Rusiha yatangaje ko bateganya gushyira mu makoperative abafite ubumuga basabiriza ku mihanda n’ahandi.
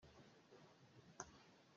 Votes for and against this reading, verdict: 0, 2, rejected